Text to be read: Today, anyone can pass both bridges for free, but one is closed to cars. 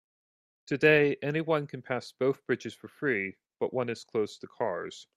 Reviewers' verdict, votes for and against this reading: accepted, 2, 0